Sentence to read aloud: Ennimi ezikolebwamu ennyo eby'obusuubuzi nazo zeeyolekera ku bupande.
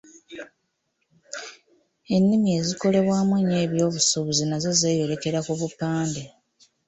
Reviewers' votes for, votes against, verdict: 1, 2, rejected